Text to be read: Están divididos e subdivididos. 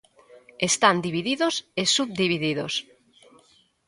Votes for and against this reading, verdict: 2, 0, accepted